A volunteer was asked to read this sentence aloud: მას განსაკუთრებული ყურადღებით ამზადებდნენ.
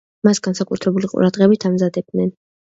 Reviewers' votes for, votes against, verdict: 2, 0, accepted